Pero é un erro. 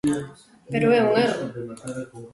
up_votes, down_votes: 0, 2